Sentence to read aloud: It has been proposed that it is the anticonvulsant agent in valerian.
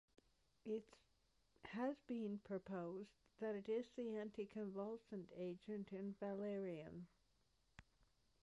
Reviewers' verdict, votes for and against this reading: rejected, 1, 2